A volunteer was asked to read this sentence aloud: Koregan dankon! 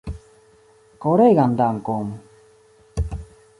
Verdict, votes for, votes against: accepted, 2, 0